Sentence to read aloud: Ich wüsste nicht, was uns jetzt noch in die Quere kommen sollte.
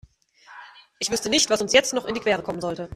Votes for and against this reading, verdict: 2, 0, accepted